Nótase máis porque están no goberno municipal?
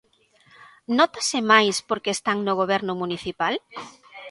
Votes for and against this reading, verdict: 3, 0, accepted